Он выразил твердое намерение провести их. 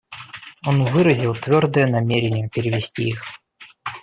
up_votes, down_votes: 0, 2